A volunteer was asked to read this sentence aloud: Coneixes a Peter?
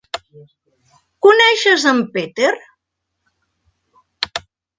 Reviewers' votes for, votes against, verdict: 1, 2, rejected